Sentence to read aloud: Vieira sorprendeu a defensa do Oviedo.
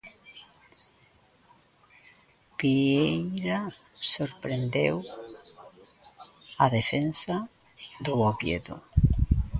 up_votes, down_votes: 0, 2